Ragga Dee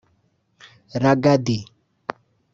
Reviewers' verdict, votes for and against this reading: rejected, 1, 2